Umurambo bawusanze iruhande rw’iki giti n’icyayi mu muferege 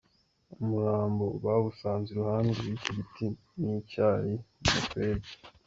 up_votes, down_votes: 1, 2